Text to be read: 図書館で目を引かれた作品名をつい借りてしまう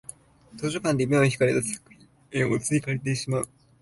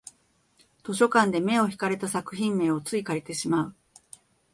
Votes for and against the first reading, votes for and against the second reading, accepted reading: 0, 2, 2, 0, second